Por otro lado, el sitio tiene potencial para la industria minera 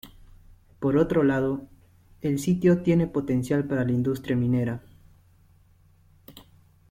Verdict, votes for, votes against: accepted, 2, 0